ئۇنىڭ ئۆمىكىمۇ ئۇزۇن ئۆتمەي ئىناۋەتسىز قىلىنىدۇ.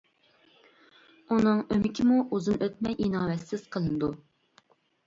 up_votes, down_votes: 2, 0